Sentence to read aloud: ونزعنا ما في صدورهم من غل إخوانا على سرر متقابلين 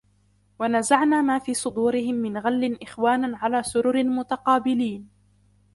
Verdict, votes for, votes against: accepted, 2, 0